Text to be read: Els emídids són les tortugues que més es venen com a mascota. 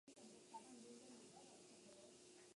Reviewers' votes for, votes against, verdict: 0, 2, rejected